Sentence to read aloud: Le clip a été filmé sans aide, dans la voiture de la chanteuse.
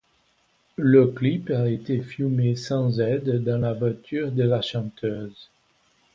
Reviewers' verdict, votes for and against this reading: accepted, 2, 1